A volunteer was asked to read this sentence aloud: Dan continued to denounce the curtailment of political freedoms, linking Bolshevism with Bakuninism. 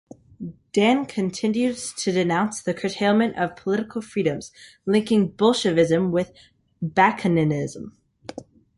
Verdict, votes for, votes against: accepted, 3, 0